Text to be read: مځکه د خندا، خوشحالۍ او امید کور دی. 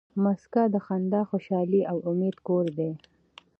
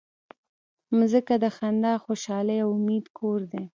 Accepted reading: first